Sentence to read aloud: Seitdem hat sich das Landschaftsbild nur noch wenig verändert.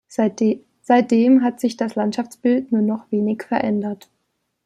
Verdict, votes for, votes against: accepted, 2, 0